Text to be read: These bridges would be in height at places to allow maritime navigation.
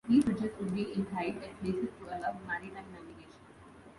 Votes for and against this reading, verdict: 0, 2, rejected